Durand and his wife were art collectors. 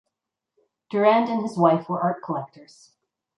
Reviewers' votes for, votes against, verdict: 2, 0, accepted